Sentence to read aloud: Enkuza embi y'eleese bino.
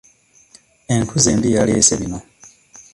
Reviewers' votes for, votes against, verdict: 1, 2, rejected